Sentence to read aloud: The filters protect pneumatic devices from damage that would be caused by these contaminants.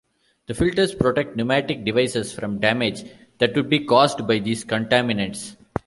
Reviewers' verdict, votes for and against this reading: accepted, 2, 0